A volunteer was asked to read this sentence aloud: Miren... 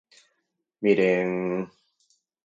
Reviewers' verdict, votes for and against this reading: accepted, 4, 0